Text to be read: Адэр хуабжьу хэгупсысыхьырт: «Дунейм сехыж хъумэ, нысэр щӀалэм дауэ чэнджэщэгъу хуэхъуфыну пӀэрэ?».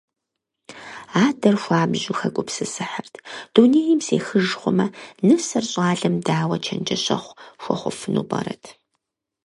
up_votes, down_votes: 0, 4